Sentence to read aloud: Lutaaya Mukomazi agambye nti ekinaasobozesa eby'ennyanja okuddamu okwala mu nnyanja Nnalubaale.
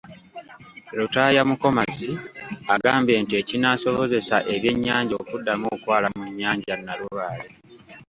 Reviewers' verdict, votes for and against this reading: rejected, 0, 2